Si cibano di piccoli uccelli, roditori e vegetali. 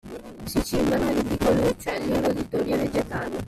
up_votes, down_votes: 0, 2